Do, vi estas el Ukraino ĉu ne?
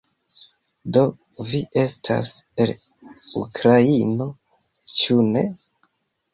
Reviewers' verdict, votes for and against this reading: accepted, 2, 0